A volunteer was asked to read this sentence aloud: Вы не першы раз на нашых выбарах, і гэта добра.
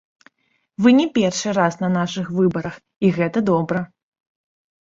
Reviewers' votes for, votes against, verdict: 1, 2, rejected